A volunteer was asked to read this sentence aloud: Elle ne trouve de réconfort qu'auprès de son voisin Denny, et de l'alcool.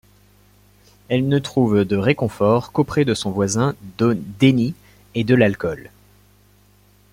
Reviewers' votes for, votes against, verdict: 0, 2, rejected